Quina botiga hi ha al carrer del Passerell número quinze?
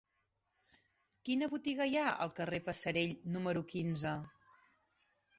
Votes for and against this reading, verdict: 2, 3, rejected